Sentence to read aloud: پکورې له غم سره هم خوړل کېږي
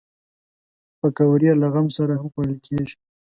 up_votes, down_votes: 2, 0